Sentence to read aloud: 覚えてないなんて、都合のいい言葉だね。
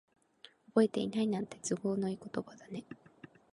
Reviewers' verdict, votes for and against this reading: accepted, 3, 0